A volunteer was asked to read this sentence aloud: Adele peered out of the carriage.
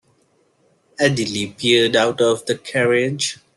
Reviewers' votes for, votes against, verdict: 1, 2, rejected